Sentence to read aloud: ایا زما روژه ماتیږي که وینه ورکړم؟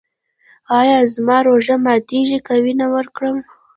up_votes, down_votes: 0, 2